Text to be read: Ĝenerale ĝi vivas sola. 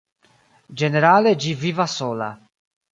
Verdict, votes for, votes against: rejected, 1, 2